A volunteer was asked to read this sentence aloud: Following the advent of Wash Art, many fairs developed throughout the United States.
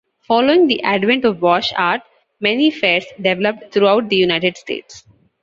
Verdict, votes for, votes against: accepted, 2, 0